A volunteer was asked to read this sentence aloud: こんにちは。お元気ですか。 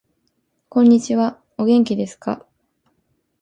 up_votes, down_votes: 2, 0